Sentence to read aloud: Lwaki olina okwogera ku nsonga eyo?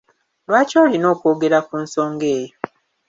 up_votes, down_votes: 2, 0